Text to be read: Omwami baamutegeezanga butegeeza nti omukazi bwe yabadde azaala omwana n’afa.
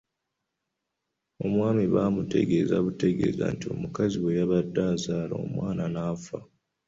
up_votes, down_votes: 2, 0